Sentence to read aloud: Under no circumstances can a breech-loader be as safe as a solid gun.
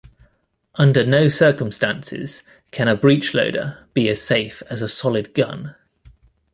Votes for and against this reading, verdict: 2, 0, accepted